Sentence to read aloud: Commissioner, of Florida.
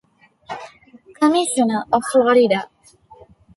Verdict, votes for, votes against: accepted, 2, 0